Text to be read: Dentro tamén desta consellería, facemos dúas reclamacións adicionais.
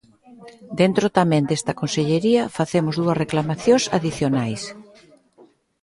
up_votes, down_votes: 3, 0